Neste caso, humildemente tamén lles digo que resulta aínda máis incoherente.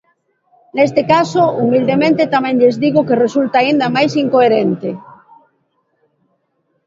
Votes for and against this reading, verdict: 2, 0, accepted